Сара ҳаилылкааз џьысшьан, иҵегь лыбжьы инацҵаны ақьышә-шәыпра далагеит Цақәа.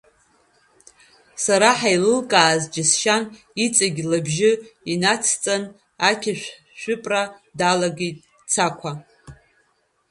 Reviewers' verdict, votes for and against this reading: rejected, 1, 2